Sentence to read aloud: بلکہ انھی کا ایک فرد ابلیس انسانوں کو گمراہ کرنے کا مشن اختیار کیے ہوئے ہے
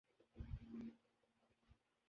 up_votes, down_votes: 0, 2